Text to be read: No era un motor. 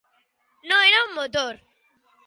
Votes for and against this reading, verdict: 2, 1, accepted